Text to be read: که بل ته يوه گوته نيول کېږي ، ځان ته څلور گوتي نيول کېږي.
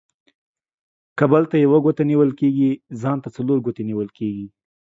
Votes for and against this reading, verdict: 2, 0, accepted